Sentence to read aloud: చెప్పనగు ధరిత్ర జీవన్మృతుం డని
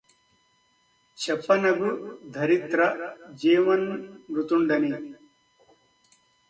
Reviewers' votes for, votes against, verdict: 2, 0, accepted